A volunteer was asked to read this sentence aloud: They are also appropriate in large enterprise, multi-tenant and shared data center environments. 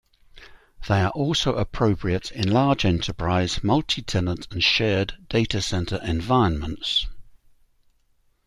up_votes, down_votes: 2, 0